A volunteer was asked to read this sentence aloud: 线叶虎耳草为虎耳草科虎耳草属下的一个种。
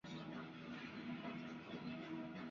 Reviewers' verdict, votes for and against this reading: rejected, 0, 2